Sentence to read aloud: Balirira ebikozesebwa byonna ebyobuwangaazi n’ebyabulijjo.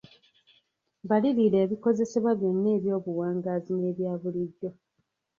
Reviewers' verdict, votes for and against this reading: rejected, 1, 2